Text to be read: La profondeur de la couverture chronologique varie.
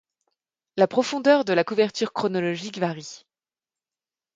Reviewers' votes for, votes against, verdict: 2, 0, accepted